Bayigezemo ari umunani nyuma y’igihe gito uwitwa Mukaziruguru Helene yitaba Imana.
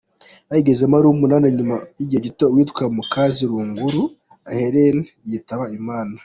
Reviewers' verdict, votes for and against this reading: accepted, 2, 1